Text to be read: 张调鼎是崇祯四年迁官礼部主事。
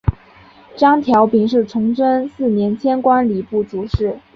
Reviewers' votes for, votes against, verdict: 3, 0, accepted